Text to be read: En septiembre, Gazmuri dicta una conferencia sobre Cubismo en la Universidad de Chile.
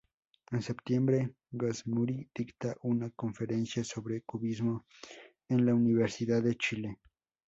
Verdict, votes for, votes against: rejected, 0, 2